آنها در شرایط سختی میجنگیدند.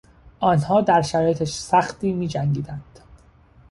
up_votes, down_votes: 0, 2